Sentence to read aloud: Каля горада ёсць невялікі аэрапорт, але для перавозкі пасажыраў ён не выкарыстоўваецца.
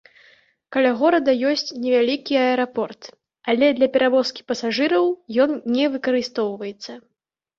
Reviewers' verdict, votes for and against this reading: rejected, 1, 2